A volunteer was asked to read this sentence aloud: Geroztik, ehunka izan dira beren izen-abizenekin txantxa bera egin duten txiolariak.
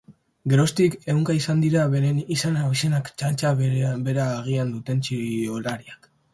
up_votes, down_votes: 0, 2